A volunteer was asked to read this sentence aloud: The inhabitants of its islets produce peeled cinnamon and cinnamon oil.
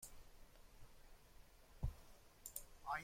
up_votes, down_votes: 0, 2